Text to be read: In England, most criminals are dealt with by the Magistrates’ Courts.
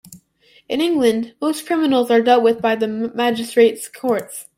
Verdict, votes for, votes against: rejected, 1, 2